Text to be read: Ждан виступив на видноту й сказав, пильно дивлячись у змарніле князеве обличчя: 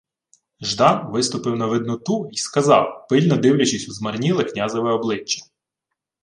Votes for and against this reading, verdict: 2, 0, accepted